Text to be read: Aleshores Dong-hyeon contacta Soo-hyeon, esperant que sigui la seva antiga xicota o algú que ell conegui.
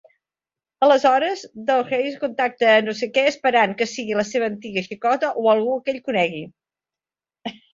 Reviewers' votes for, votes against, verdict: 0, 2, rejected